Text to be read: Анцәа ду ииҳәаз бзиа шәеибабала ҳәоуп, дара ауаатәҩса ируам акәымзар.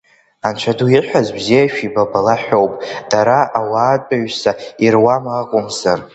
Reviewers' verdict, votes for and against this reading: rejected, 0, 2